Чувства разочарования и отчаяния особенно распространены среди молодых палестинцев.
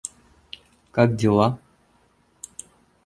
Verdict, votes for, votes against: rejected, 0, 2